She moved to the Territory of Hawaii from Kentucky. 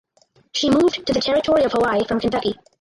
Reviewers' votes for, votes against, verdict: 2, 4, rejected